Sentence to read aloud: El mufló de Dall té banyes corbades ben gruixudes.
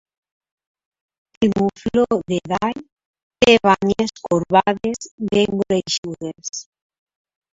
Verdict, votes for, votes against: rejected, 1, 2